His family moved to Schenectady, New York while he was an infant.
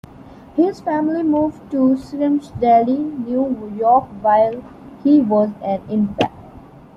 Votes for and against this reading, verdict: 2, 1, accepted